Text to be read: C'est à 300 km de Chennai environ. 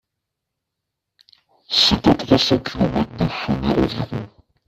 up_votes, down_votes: 0, 2